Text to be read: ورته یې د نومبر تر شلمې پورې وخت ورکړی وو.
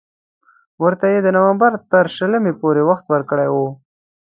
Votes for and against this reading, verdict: 2, 0, accepted